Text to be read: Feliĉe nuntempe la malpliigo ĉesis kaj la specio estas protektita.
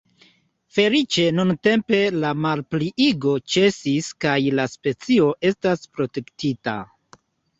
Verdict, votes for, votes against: accepted, 2, 0